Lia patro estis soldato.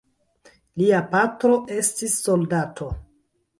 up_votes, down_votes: 1, 2